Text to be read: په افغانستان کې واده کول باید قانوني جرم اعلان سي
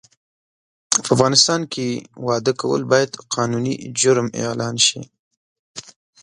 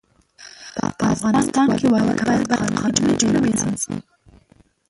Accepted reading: first